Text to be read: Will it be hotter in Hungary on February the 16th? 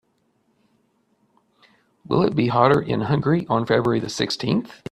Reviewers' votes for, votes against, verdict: 0, 2, rejected